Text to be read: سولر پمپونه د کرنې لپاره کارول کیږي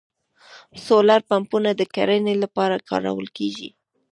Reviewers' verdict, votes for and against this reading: rejected, 1, 2